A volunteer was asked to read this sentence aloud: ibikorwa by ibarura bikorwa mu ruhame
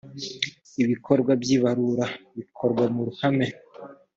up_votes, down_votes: 2, 0